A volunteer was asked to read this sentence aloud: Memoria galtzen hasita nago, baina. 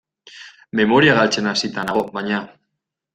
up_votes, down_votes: 2, 0